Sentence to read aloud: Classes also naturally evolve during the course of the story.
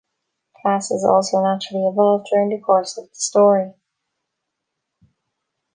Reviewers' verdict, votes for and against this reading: rejected, 2, 4